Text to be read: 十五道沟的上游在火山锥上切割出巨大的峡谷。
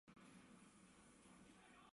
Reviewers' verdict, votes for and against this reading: rejected, 0, 2